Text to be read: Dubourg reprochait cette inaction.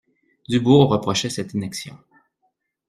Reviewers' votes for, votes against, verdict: 2, 0, accepted